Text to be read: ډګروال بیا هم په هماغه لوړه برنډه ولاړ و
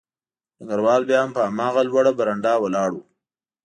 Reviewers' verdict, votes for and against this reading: accepted, 2, 0